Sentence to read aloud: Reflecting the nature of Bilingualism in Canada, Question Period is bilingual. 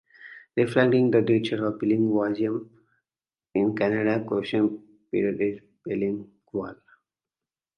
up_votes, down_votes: 0, 2